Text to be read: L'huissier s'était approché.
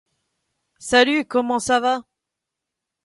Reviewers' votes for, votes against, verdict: 0, 2, rejected